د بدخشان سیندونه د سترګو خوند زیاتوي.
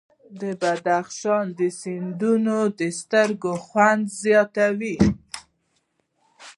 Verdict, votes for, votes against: rejected, 1, 2